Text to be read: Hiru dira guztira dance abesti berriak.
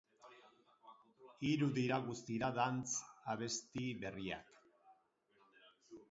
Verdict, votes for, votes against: accepted, 4, 2